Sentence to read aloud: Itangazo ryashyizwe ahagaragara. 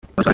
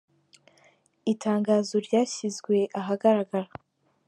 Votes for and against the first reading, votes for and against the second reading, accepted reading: 0, 2, 2, 1, second